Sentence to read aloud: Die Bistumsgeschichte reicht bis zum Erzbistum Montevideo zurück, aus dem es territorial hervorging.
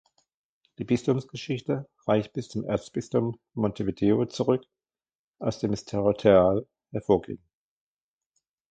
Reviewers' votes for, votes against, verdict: 2, 1, accepted